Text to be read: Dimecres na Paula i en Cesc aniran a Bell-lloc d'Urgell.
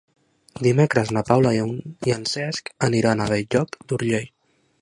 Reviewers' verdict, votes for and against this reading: rejected, 0, 2